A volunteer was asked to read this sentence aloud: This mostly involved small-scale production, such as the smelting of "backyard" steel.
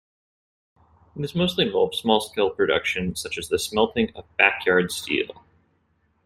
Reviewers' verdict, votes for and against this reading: accepted, 2, 0